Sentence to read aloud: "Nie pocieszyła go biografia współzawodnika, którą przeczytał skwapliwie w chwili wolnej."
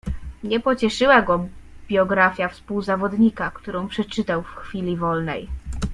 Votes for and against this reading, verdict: 1, 2, rejected